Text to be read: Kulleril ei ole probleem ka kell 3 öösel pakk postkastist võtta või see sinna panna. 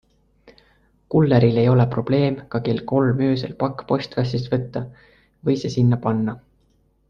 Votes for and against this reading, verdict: 0, 2, rejected